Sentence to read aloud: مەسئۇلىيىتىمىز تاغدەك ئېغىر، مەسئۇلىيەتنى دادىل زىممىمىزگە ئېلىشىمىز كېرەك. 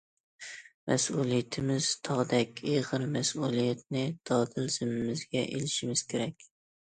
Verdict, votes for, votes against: accepted, 2, 0